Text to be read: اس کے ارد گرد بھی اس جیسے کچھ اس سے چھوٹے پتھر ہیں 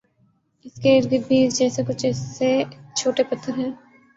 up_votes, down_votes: 0, 2